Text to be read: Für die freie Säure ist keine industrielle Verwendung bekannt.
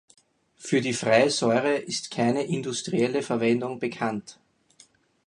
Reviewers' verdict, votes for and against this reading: accepted, 4, 0